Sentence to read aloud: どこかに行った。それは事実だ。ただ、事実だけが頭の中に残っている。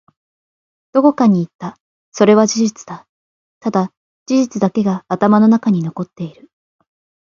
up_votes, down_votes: 3, 2